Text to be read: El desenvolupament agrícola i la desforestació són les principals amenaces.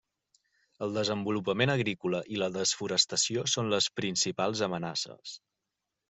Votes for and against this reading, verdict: 3, 0, accepted